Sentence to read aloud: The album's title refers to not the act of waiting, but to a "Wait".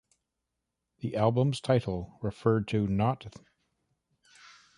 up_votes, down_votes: 0, 2